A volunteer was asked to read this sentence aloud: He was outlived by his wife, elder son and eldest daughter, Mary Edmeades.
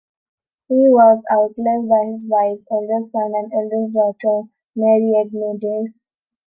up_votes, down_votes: 0, 3